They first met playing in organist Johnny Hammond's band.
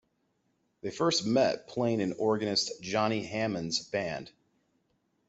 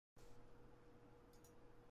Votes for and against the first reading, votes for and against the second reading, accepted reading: 2, 0, 0, 2, first